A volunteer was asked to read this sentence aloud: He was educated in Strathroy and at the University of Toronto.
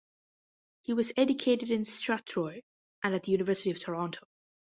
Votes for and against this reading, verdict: 0, 2, rejected